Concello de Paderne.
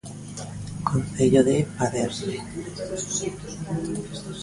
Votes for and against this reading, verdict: 1, 2, rejected